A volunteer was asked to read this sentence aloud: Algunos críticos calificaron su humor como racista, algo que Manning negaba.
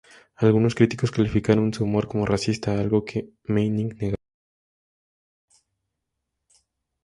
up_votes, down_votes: 0, 4